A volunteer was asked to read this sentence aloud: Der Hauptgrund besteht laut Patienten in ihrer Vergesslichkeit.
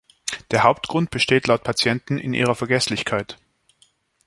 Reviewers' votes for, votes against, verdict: 2, 0, accepted